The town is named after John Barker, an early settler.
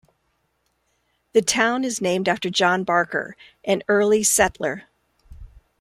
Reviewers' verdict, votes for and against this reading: accepted, 2, 0